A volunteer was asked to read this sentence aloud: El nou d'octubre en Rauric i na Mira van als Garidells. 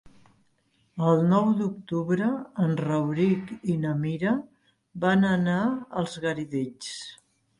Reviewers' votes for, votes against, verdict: 0, 3, rejected